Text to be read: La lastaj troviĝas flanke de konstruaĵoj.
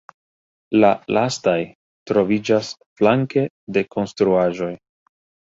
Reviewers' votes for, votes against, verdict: 2, 0, accepted